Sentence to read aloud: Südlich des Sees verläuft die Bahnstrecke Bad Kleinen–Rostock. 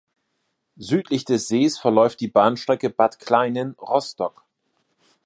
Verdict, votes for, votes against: accepted, 2, 0